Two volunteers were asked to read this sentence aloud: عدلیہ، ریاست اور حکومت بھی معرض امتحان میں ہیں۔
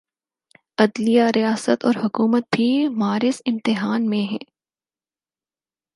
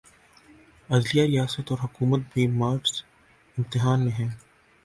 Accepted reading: first